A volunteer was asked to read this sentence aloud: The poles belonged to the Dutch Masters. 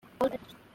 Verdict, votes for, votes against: rejected, 0, 2